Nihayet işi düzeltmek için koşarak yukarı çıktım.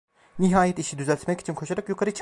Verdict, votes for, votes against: rejected, 1, 2